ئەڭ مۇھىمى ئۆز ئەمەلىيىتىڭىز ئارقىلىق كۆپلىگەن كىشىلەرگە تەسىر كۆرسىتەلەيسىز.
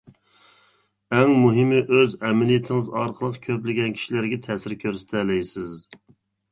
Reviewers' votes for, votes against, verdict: 2, 0, accepted